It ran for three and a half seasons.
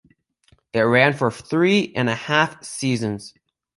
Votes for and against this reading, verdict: 2, 0, accepted